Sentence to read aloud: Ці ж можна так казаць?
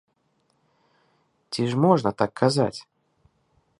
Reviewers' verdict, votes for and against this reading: accepted, 2, 0